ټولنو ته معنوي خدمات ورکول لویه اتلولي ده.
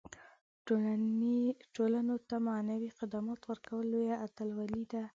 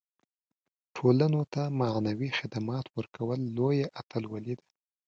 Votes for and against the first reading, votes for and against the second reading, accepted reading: 1, 2, 2, 0, second